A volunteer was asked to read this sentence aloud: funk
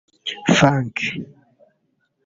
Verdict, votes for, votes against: rejected, 0, 2